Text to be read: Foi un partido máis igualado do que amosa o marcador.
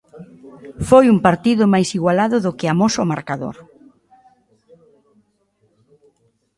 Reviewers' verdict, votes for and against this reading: accepted, 2, 1